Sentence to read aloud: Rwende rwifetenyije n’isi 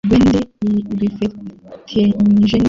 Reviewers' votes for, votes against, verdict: 1, 2, rejected